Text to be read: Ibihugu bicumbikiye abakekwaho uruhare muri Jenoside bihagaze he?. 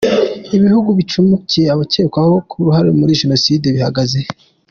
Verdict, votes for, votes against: rejected, 0, 2